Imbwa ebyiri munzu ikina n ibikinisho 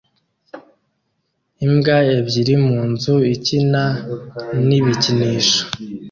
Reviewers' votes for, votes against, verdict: 2, 0, accepted